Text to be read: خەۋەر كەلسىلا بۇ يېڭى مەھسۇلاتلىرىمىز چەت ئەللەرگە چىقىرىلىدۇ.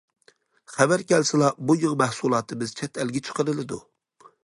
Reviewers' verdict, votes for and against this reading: rejected, 1, 2